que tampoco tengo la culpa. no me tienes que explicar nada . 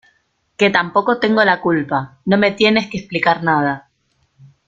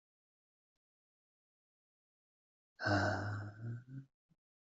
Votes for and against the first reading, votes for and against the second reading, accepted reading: 2, 0, 0, 2, first